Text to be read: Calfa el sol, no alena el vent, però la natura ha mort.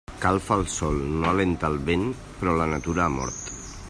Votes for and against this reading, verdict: 0, 2, rejected